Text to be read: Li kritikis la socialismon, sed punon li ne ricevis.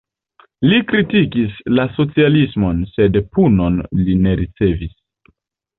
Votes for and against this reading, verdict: 2, 0, accepted